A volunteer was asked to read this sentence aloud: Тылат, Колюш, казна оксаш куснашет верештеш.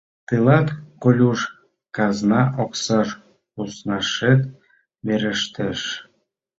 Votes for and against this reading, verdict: 2, 0, accepted